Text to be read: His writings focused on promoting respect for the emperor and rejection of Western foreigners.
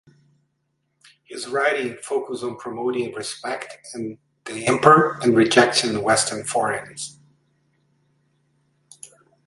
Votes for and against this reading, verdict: 2, 1, accepted